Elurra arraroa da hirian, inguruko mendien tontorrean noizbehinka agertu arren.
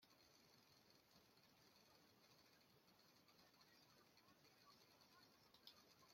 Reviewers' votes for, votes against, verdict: 0, 2, rejected